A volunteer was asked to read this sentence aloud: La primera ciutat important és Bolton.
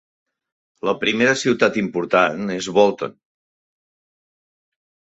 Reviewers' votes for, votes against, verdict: 2, 0, accepted